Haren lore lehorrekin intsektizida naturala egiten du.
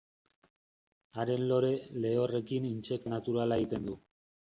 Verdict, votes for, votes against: rejected, 0, 2